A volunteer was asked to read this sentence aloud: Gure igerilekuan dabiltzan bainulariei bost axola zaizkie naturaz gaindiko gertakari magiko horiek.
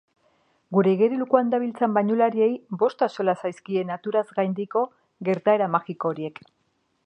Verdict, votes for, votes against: rejected, 1, 2